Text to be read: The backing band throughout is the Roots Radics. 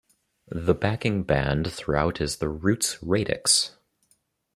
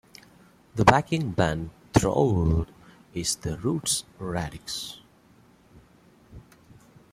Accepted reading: first